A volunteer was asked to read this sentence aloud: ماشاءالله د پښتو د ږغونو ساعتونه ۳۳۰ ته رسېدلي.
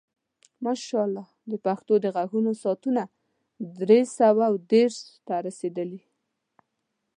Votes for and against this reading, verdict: 0, 2, rejected